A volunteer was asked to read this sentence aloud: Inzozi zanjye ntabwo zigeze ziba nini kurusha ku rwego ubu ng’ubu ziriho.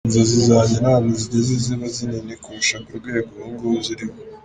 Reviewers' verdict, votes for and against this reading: accepted, 2, 1